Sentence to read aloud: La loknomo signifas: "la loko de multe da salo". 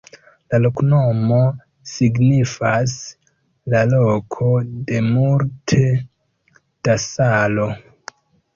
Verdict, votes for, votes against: rejected, 1, 2